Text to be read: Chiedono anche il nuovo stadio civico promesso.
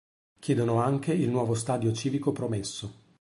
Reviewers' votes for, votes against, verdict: 2, 0, accepted